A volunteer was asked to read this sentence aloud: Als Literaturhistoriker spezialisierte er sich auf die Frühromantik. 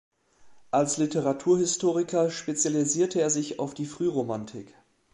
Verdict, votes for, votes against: accepted, 2, 0